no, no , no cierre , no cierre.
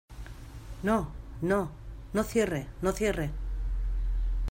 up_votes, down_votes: 2, 0